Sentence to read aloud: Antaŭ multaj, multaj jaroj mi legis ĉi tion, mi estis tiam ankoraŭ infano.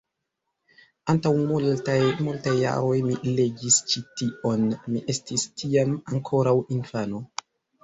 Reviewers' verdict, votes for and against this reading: accepted, 2, 1